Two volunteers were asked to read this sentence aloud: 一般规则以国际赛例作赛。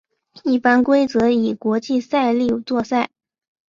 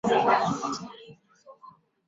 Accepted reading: first